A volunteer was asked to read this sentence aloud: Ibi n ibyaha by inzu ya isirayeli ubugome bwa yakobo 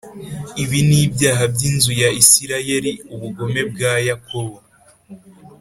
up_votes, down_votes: 3, 0